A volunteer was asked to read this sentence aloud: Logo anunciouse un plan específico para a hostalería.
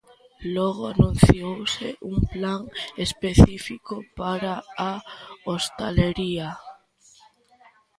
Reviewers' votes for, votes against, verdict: 2, 1, accepted